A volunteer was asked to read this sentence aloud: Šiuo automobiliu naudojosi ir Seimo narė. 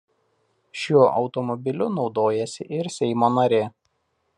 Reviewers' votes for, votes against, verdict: 1, 2, rejected